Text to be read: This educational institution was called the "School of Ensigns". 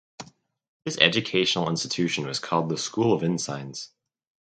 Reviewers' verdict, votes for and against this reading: rejected, 2, 2